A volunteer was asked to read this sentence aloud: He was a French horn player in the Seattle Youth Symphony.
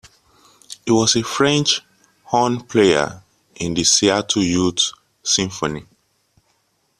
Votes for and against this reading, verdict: 2, 0, accepted